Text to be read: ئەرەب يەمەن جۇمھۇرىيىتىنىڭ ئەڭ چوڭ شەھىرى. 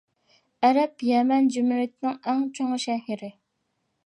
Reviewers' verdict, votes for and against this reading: rejected, 0, 2